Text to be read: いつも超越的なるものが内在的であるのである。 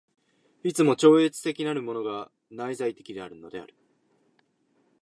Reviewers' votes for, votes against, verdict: 2, 0, accepted